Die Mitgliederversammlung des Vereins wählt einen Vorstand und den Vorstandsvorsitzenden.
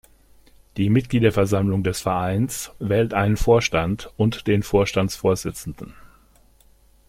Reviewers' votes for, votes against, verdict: 2, 0, accepted